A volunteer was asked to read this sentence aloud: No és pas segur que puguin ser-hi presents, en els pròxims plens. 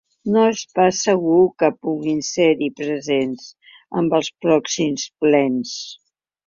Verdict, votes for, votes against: rejected, 0, 4